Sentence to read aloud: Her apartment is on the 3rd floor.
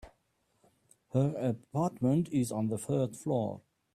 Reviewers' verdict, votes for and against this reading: rejected, 0, 2